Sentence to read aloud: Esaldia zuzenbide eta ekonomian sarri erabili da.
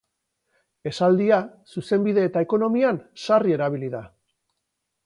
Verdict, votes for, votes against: accepted, 4, 0